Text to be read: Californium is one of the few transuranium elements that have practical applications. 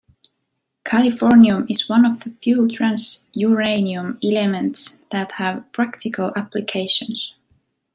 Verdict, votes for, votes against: rejected, 1, 2